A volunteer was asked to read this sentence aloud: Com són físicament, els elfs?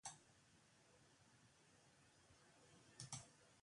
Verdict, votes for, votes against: rejected, 0, 2